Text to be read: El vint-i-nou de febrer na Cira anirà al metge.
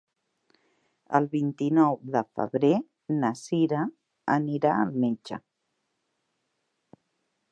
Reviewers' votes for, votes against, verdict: 4, 0, accepted